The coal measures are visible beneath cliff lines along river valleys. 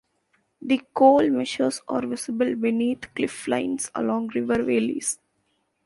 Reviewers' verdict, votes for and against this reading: rejected, 1, 2